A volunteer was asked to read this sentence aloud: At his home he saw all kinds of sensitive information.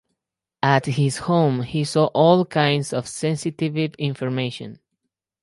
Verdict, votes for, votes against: rejected, 2, 2